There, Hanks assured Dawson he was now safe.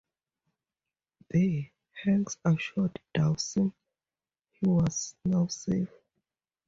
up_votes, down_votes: 4, 0